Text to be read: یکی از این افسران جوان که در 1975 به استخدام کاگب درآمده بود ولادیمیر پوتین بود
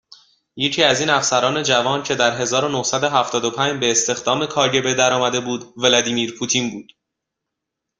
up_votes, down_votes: 0, 2